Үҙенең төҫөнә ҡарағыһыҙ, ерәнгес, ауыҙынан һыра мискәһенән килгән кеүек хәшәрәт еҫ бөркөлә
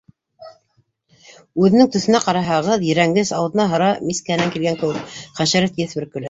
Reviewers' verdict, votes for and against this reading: rejected, 0, 2